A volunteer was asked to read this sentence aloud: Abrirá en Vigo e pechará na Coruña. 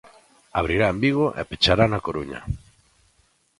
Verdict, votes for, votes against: accepted, 2, 0